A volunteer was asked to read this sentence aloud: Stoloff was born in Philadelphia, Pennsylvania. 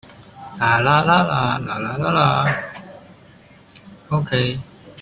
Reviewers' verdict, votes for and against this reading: rejected, 0, 2